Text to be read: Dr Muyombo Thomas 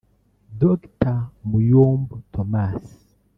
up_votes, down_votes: 0, 2